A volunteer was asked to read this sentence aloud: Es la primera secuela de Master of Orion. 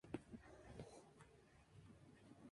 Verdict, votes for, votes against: rejected, 0, 2